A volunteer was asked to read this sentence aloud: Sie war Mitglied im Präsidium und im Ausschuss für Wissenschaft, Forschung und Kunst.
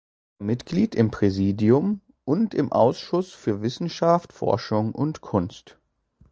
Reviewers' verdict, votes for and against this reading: rejected, 2, 3